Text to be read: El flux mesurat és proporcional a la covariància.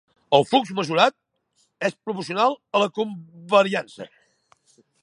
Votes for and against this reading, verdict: 1, 2, rejected